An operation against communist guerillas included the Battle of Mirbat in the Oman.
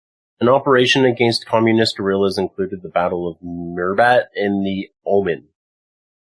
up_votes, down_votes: 2, 0